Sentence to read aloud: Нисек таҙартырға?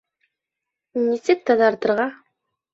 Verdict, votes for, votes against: accepted, 2, 0